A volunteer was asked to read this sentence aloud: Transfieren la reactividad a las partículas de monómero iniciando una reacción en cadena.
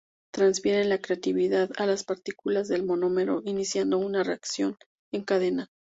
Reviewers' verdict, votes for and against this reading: accepted, 2, 0